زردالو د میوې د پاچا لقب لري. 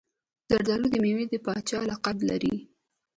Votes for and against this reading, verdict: 0, 2, rejected